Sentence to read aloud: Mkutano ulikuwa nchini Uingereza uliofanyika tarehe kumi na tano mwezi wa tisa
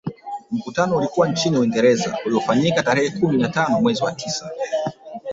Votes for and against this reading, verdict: 1, 3, rejected